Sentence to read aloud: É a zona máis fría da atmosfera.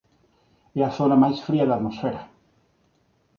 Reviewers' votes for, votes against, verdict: 2, 0, accepted